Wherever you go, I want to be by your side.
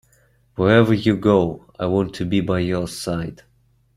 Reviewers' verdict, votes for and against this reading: accepted, 2, 0